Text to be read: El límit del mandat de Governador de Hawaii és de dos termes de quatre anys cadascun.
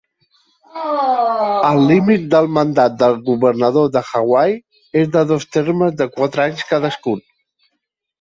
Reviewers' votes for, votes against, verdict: 0, 2, rejected